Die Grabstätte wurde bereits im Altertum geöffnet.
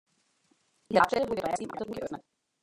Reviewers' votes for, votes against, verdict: 0, 2, rejected